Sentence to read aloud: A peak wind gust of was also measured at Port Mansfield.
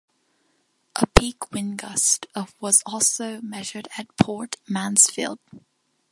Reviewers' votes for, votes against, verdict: 2, 0, accepted